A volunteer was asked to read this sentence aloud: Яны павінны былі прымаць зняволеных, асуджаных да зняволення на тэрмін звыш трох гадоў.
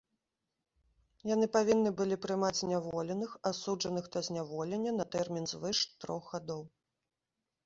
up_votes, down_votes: 2, 0